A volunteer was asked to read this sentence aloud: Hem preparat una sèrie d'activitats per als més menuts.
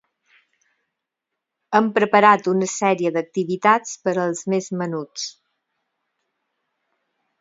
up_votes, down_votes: 4, 0